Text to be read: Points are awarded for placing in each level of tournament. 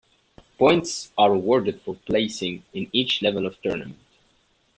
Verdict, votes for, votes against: accepted, 2, 0